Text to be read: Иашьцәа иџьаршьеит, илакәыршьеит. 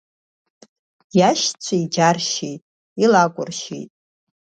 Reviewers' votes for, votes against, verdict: 2, 0, accepted